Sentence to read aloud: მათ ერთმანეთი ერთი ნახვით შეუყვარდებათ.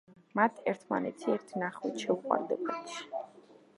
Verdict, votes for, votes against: rejected, 0, 2